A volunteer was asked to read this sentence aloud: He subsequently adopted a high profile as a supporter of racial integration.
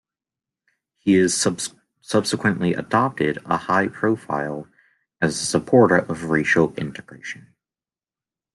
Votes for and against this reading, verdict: 1, 2, rejected